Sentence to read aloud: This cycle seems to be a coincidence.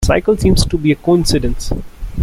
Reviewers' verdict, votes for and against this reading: rejected, 0, 2